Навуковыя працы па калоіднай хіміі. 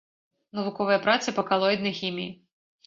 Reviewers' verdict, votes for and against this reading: accepted, 2, 0